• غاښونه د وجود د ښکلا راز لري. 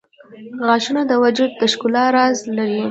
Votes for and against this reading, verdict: 1, 2, rejected